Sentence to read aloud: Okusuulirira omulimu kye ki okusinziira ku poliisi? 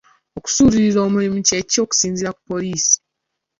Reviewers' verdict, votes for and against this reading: accepted, 2, 0